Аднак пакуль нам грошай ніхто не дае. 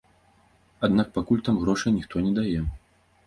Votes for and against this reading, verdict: 0, 2, rejected